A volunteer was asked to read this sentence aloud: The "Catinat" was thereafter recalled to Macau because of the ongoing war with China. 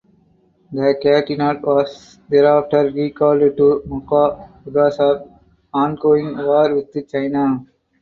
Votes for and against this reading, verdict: 2, 0, accepted